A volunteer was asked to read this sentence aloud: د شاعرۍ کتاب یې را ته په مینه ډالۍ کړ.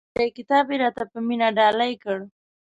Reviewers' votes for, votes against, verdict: 1, 2, rejected